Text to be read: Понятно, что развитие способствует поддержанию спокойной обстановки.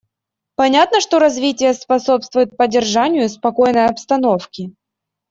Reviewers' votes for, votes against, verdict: 2, 0, accepted